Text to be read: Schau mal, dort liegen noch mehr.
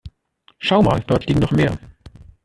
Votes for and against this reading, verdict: 1, 2, rejected